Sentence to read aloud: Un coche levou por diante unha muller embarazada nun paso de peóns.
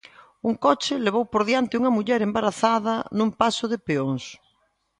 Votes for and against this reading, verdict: 2, 0, accepted